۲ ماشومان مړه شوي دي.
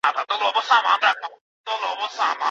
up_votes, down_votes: 0, 2